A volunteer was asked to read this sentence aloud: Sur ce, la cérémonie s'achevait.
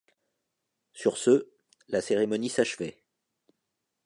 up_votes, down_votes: 2, 0